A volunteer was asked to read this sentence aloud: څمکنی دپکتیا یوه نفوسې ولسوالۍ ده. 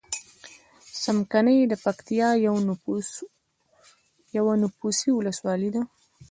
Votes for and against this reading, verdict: 1, 2, rejected